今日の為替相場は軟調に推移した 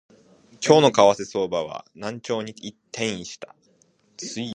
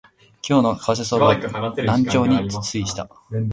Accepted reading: second